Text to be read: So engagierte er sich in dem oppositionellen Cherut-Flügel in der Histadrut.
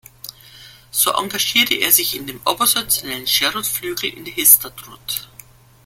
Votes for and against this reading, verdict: 1, 2, rejected